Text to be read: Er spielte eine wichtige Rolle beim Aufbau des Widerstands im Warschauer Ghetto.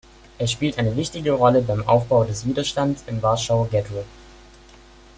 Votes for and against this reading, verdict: 1, 2, rejected